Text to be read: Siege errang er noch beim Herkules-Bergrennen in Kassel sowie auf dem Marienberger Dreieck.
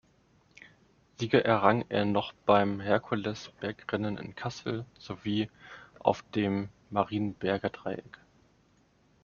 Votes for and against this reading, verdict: 2, 1, accepted